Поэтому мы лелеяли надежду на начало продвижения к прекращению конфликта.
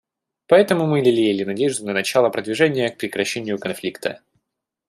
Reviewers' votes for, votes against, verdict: 2, 0, accepted